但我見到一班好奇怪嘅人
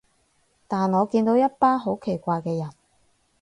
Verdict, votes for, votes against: accepted, 4, 0